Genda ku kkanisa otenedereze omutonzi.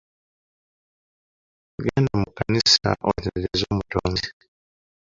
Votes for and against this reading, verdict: 1, 2, rejected